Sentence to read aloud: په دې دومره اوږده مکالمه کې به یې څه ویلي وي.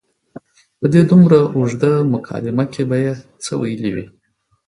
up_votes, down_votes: 4, 0